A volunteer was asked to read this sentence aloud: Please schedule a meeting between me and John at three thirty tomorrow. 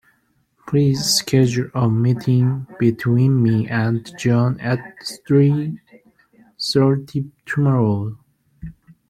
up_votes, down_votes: 1, 2